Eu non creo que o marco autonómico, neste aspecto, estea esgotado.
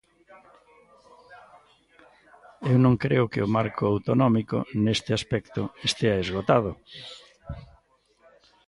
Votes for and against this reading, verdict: 0, 2, rejected